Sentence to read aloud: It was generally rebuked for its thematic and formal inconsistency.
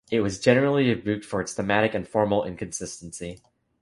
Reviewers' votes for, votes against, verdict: 3, 1, accepted